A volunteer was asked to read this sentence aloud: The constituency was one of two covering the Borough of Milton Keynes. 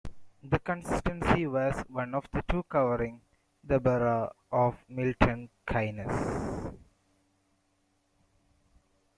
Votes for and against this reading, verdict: 0, 2, rejected